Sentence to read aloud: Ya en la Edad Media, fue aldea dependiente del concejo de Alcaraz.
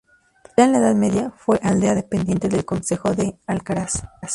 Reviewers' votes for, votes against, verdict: 0, 2, rejected